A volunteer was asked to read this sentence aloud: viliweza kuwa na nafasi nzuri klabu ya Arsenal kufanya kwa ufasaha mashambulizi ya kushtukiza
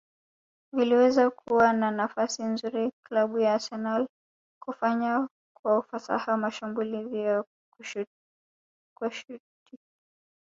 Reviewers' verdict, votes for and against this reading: rejected, 2, 3